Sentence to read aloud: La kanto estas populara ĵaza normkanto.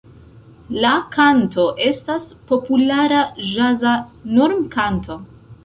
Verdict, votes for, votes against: accepted, 2, 0